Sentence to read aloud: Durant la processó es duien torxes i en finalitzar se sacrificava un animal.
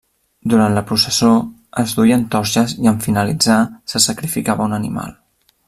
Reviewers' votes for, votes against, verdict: 2, 0, accepted